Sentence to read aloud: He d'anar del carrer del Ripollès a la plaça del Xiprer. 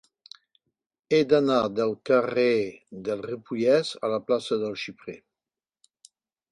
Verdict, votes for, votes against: accepted, 4, 0